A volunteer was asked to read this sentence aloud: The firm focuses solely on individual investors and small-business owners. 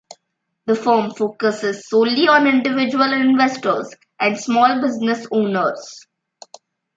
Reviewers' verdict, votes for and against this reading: rejected, 0, 2